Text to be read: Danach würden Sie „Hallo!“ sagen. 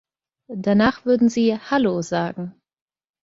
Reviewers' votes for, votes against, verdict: 2, 0, accepted